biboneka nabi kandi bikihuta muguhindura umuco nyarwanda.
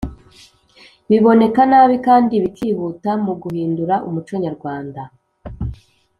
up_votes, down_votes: 2, 0